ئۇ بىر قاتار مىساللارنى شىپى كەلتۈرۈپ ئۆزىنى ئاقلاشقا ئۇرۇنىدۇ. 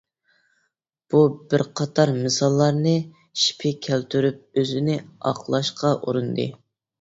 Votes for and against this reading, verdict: 0, 2, rejected